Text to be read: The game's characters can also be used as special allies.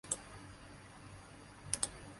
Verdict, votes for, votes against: rejected, 0, 2